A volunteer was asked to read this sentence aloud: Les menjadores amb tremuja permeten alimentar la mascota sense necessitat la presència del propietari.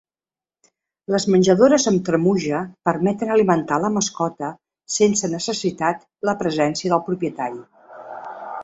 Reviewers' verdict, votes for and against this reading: accepted, 2, 0